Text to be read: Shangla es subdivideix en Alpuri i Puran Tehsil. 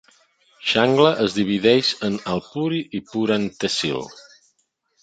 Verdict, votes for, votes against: rejected, 0, 2